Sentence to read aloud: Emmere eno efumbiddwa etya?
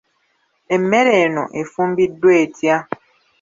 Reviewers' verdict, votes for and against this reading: rejected, 0, 2